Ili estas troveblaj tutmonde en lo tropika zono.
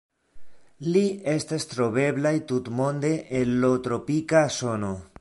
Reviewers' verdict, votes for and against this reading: rejected, 0, 2